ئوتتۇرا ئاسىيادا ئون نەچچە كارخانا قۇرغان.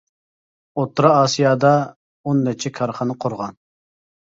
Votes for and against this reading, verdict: 3, 0, accepted